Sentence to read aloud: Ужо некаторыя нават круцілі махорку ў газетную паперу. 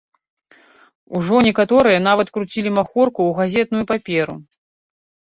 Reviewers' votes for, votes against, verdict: 2, 0, accepted